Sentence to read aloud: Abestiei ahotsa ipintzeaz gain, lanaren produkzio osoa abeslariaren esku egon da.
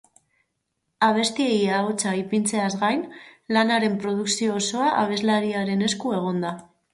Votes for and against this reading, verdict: 4, 0, accepted